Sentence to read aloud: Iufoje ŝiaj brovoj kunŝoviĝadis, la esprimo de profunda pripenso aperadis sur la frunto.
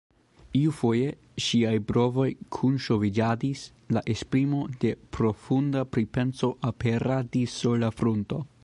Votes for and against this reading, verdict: 0, 2, rejected